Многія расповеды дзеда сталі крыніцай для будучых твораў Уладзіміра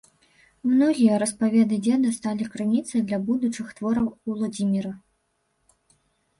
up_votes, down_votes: 1, 2